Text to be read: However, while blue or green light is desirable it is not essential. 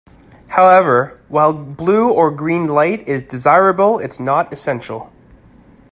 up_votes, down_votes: 2, 1